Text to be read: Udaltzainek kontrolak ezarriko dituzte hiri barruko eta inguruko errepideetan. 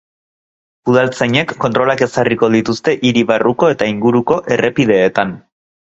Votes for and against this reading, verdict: 2, 0, accepted